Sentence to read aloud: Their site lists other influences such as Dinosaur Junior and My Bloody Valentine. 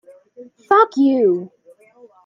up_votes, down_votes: 0, 2